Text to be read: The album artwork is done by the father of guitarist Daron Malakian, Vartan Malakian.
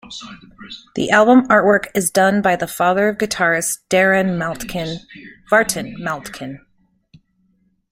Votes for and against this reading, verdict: 0, 2, rejected